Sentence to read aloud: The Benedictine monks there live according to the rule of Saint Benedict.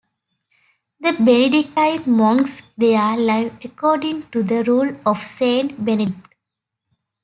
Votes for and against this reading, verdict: 0, 2, rejected